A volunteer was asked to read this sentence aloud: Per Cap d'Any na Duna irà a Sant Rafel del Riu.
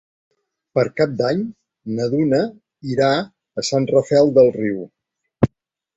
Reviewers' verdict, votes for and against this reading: accepted, 3, 0